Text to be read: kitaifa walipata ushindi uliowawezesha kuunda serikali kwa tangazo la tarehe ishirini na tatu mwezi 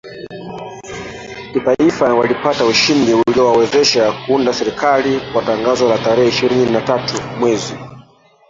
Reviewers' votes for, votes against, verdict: 1, 3, rejected